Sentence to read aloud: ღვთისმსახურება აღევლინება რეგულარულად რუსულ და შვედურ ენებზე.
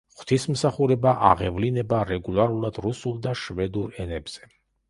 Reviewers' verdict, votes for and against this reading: accepted, 2, 0